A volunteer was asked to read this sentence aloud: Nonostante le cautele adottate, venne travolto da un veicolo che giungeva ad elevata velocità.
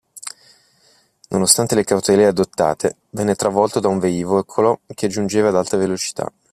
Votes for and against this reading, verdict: 0, 2, rejected